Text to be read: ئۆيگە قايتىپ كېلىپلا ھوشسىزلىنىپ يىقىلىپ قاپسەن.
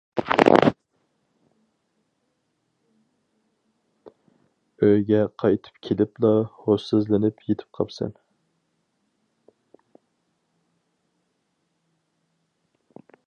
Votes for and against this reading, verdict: 0, 4, rejected